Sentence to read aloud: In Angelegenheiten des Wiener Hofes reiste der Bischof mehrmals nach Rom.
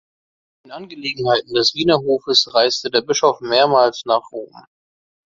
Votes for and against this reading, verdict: 2, 0, accepted